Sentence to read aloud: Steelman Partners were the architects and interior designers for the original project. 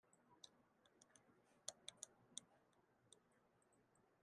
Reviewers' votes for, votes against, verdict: 0, 2, rejected